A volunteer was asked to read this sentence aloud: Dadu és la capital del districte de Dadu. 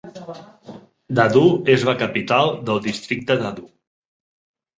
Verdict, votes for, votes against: rejected, 0, 2